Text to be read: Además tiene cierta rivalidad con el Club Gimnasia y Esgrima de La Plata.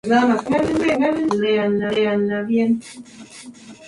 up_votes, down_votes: 0, 2